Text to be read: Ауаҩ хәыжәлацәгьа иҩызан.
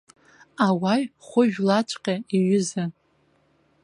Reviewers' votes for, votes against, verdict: 1, 2, rejected